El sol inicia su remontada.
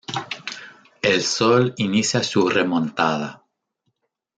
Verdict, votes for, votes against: rejected, 1, 2